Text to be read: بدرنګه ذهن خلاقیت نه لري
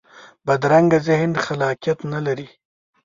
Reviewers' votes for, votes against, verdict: 2, 0, accepted